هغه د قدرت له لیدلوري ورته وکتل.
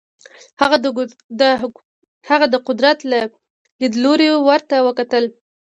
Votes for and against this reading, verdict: 0, 2, rejected